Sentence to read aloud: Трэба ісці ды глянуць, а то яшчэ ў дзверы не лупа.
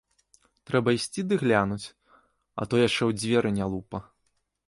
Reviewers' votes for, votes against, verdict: 2, 0, accepted